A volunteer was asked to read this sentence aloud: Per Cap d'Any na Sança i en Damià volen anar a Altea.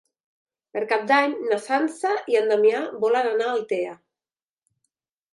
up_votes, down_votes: 3, 0